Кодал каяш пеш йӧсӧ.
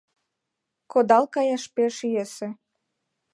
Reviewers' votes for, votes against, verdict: 2, 0, accepted